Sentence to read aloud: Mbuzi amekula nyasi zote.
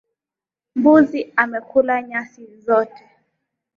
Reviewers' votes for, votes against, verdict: 2, 0, accepted